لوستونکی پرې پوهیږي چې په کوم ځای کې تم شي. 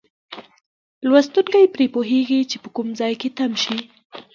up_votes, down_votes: 1, 2